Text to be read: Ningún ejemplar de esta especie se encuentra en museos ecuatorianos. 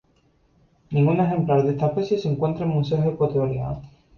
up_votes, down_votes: 4, 0